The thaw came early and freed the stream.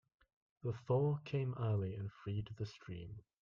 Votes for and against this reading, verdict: 2, 0, accepted